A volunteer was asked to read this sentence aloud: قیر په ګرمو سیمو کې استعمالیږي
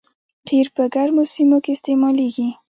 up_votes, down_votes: 2, 0